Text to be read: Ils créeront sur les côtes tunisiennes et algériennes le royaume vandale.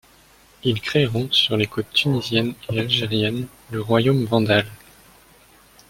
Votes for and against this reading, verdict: 2, 0, accepted